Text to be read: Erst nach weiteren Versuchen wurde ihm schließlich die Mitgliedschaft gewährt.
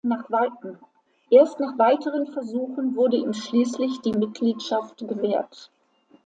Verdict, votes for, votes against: rejected, 0, 2